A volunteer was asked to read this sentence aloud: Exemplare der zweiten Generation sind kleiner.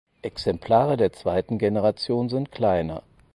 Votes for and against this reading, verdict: 4, 0, accepted